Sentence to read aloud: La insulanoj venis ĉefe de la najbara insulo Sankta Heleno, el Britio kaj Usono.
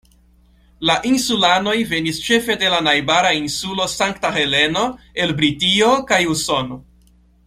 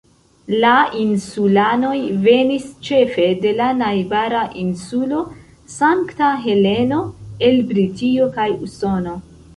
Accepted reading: first